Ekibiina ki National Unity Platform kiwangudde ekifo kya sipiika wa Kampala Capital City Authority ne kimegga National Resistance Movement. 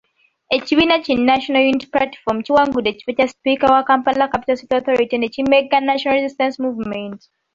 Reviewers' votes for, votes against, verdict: 3, 0, accepted